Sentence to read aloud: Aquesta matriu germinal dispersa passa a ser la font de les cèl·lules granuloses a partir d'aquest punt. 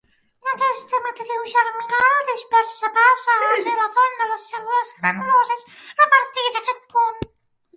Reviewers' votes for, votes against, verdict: 0, 2, rejected